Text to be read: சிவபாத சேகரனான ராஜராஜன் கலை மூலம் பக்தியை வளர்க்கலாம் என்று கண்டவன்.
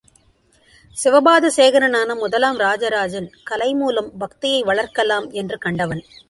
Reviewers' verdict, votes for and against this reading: rejected, 0, 2